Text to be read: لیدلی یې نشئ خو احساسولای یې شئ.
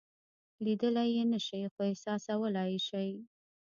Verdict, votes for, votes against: rejected, 0, 2